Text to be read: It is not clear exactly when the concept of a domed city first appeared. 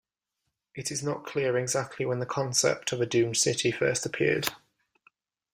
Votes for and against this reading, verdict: 1, 2, rejected